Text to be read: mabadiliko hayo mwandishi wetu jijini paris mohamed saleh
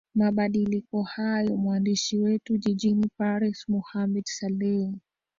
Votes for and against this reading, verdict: 0, 2, rejected